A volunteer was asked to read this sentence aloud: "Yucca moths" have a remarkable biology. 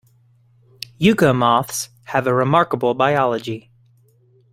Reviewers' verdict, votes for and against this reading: accepted, 2, 0